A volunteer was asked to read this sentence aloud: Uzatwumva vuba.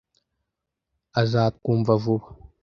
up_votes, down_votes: 1, 2